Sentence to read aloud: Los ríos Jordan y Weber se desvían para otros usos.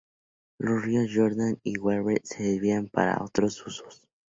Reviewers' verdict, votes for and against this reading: accepted, 2, 0